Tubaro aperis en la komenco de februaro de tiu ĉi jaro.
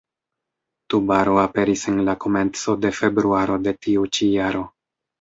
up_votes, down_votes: 3, 0